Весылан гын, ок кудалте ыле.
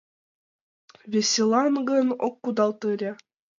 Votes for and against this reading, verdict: 1, 2, rejected